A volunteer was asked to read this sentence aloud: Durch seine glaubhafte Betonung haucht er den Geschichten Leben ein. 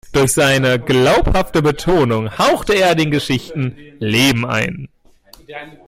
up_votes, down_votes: 2, 0